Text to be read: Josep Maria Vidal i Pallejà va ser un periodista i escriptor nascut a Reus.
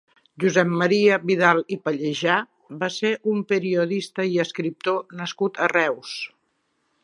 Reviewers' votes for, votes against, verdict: 4, 0, accepted